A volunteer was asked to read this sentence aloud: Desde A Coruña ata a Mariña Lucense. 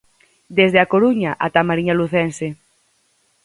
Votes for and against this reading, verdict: 4, 0, accepted